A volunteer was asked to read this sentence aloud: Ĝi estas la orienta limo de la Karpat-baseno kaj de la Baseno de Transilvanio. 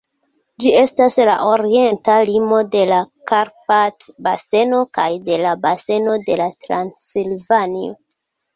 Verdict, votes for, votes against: rejected, 1, 2